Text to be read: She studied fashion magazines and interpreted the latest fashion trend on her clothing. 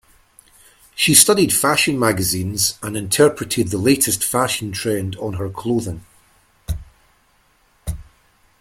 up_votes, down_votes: 2, 0